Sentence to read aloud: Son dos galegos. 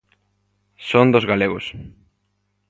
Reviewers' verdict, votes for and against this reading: accepted, 2, 0